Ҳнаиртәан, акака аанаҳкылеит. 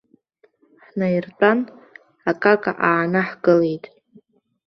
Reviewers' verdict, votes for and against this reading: accepted, 2, 0